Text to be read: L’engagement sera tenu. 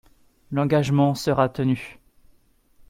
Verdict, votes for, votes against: accepted, 2, 0